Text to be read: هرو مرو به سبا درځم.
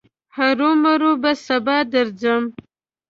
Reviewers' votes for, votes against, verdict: 2, 0, accepted